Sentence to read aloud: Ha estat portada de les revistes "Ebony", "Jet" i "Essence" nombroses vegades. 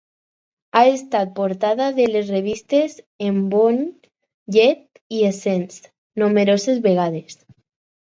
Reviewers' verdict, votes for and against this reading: rejected, 0, 4